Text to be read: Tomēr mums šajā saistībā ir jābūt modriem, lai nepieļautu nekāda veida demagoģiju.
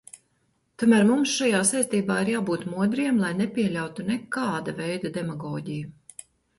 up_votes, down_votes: 2, 0